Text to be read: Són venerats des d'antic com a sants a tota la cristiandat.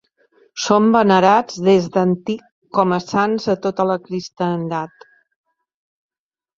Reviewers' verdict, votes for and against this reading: rejected, 1, 2